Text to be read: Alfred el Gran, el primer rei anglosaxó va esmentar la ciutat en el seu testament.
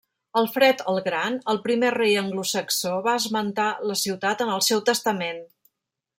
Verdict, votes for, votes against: rejected, 0, 2